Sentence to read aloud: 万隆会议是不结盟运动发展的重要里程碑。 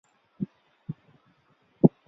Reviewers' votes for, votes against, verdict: 0, 3, rejected